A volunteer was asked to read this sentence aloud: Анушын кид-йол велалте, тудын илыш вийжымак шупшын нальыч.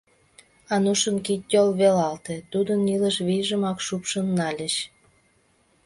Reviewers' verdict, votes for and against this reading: accepted, 2, 0